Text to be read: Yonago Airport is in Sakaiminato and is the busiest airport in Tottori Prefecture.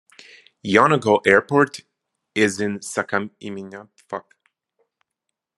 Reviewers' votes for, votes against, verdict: 0, 2, rejected